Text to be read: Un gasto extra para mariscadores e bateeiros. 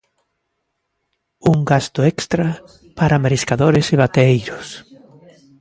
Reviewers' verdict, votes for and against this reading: accepted, 2, 0